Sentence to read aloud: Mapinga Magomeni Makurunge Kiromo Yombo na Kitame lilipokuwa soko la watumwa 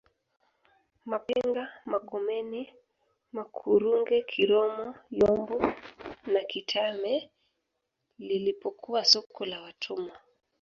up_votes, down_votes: 0, 2